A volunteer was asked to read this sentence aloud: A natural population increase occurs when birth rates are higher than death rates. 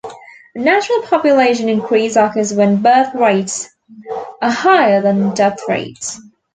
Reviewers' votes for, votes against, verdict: 2, 0, accepted